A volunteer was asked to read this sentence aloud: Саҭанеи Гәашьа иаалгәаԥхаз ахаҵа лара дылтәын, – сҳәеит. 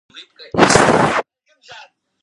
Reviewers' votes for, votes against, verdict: 0, 2, rejected